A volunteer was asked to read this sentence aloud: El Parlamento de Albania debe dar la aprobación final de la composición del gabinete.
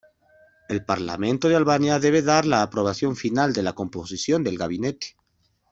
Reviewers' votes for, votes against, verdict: 2, 1, accepted